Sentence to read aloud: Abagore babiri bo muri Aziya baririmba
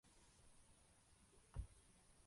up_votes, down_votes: 1, 2